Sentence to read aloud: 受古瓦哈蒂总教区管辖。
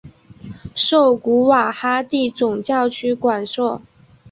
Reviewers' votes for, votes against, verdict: 0, 4, rejected